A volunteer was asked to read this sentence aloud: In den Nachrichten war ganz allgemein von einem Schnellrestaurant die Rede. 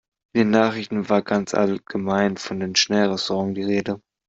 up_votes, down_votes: 0, 2